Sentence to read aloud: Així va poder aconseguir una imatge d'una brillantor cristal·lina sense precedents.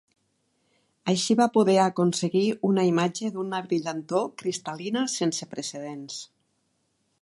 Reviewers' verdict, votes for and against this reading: accepted, 3, 0